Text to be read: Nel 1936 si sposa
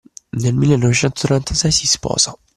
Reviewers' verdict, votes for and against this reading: rejected, 0, 2